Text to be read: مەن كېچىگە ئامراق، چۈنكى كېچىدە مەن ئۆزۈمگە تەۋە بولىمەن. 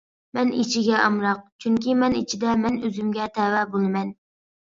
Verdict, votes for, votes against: rejected, 0, 2